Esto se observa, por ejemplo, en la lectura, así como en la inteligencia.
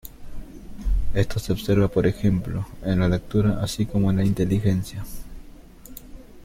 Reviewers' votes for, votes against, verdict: 2, 1, accepted